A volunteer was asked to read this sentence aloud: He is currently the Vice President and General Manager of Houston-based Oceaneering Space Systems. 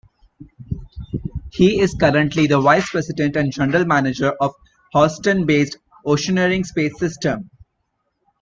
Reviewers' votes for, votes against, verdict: 0, 2, rejected